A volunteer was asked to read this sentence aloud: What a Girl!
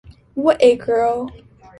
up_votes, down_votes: 3, 0